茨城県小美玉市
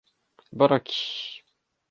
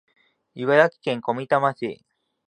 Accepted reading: second